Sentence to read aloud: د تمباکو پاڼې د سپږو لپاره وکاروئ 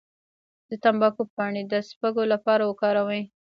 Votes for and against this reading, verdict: 0, 2, rejected